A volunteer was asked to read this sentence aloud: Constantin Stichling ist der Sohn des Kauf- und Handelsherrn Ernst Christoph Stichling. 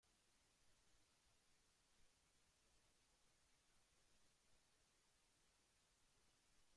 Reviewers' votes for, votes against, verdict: 0, 2, rejected